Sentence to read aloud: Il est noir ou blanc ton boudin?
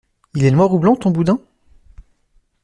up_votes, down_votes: 2, 0